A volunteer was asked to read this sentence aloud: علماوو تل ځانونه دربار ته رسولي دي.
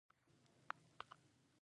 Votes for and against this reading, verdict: 1, 2, rejected